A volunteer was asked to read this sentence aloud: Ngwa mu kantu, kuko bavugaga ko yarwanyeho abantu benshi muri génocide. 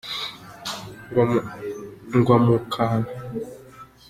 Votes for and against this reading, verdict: 0, 3, rejected